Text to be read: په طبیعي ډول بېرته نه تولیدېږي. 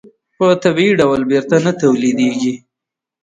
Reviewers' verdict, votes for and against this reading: rejected, 1, 2